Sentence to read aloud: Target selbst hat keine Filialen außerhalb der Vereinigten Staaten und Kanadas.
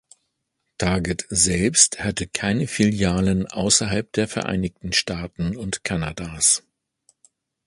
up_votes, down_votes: 1, 2